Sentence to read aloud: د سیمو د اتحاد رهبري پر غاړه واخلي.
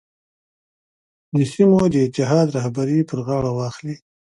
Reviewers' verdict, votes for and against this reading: accepted, 2, 0